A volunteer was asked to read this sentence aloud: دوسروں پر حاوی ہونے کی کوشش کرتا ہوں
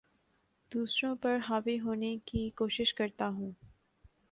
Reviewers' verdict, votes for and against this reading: accepted, 2, 0